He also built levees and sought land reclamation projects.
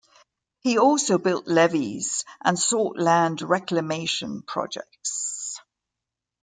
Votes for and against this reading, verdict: 2, 0, accepted